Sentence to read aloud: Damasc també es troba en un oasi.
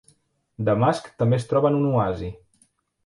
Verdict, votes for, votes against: accepted, 2, 0